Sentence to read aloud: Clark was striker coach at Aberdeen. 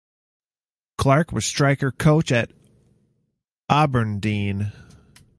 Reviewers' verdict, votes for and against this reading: rejected, 0, 2